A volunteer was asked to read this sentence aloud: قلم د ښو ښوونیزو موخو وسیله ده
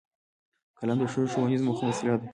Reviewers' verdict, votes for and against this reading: rejected, 1, 2